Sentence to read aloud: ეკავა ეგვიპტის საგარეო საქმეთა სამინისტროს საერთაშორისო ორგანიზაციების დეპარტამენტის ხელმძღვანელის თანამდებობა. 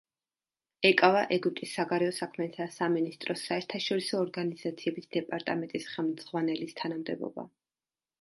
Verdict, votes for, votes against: accepted, 2, 0